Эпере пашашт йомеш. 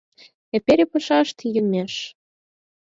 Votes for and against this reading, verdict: 4, 0, accepted